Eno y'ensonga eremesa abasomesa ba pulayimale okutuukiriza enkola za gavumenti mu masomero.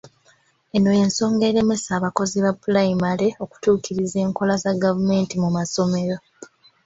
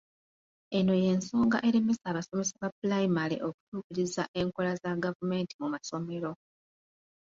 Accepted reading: second